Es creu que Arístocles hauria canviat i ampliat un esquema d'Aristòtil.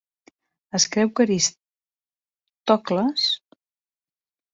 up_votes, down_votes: 0, 2